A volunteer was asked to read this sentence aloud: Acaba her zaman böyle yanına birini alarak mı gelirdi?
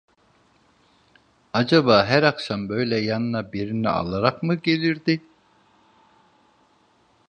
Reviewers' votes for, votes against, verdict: 0, 2, rejected